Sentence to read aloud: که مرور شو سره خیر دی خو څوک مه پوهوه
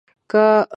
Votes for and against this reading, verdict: 0, 2, rejected